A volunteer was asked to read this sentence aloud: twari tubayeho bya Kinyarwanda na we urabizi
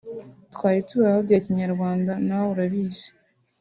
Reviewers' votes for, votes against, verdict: 4, 0, accepted